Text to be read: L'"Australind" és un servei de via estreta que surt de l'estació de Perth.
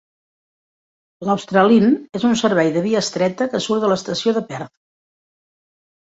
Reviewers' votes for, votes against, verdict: 2, 0, accepted